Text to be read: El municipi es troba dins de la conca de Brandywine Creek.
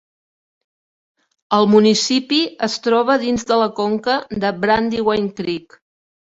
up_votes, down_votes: 1, 2